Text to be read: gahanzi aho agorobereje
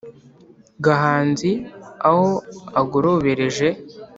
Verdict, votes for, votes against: accepted, 2, 0